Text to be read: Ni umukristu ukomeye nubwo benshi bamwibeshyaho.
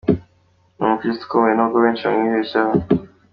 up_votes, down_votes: 2, 1